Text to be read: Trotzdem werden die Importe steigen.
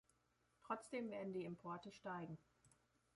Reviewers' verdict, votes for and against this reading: accepted, 2, 0